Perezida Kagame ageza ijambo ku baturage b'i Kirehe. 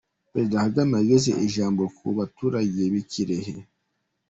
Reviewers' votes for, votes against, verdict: 0, 2, rejected